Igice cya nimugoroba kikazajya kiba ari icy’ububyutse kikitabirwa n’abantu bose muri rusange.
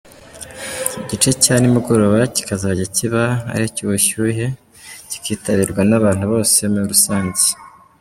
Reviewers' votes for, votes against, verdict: 0, 2, rejected